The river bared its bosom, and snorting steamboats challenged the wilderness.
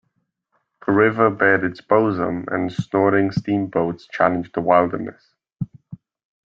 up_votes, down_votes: 0, 2